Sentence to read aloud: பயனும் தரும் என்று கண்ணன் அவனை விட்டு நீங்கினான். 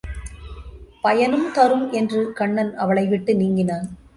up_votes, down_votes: 1, 2